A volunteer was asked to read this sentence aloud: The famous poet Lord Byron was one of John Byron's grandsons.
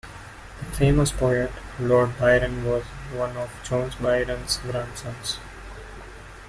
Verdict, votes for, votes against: rejected, 1, 2